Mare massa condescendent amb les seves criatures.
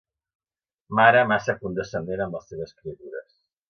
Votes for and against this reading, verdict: 2, 0, accepted